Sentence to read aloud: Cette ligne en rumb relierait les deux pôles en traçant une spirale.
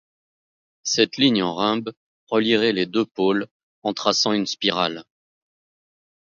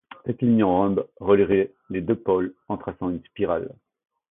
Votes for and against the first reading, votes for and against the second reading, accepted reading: 2, 0, 1, 2, first